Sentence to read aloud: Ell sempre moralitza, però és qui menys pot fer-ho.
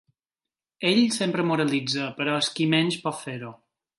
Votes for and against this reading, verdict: 3, 0, accepted